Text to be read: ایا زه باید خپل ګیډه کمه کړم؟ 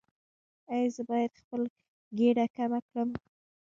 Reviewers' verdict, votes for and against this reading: accepted, 2, 0